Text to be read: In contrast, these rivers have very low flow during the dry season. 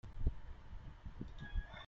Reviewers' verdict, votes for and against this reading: rejected, 0, 2